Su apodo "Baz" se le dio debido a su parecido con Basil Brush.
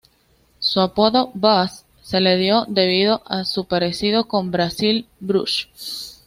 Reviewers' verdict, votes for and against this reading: accepted, 2, 1